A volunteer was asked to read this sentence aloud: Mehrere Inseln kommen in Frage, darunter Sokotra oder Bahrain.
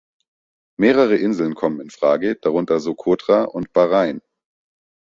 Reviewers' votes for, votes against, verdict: 1, 2, rejected